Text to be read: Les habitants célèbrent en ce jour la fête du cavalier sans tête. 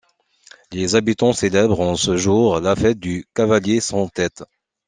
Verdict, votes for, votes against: accepted, 2, 0